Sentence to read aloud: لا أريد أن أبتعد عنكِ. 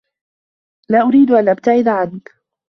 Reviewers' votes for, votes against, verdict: 0, 2, rejected